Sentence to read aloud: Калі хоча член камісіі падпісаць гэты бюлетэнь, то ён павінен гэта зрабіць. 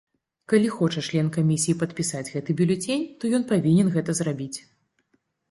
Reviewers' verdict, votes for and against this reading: rejected, 1, 2